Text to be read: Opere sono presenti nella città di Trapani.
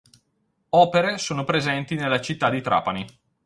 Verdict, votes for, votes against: accepted, 6, 0